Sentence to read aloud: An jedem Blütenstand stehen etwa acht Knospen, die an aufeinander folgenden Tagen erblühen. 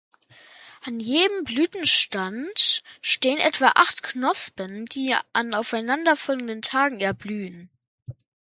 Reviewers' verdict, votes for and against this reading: accepted, 2, 0